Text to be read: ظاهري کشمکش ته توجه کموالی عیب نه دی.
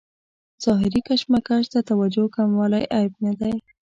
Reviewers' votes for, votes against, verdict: 2, 0, accepted